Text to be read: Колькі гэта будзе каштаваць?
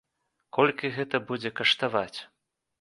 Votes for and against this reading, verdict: 2, 0, accepted